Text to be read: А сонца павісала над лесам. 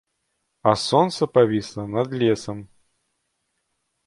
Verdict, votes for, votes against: accepted, 2, 1